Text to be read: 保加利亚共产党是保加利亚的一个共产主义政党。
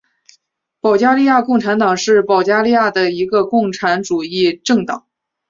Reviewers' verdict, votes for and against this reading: accepted, 2, 0